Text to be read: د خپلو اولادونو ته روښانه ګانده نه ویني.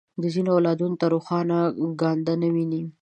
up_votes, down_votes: 0, 2